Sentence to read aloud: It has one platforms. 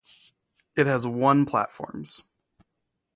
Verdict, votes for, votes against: accepted, 2, 0